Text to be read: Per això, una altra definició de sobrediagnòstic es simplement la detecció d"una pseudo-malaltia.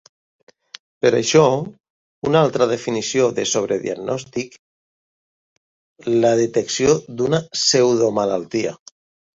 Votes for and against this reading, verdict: 0, 3, rejected